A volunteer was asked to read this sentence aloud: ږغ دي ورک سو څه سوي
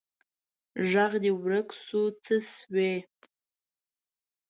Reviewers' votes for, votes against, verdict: 2, 0, accepted